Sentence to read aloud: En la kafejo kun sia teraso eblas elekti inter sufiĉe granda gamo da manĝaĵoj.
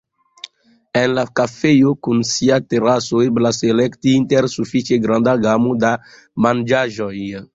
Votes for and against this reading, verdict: 2, 0, accepted